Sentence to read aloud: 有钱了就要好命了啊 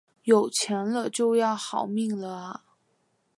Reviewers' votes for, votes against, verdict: 2, 0, accepted